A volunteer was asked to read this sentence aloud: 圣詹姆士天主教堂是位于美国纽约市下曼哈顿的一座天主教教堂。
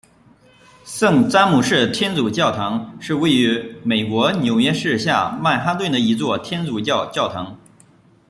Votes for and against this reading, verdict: 2, 1, accepted